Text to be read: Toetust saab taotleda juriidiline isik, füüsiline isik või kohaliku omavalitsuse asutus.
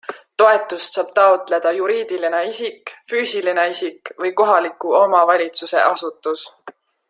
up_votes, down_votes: 2, 0